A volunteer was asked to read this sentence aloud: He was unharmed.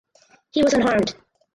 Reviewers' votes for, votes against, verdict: 0, 4, rejected